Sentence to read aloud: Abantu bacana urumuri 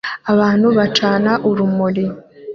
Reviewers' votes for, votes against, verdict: 2, 0, accepted